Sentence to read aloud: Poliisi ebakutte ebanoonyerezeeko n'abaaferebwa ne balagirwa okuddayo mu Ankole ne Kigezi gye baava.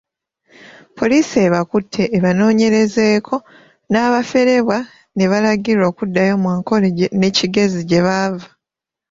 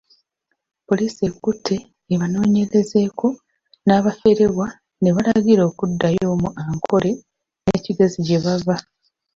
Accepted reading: first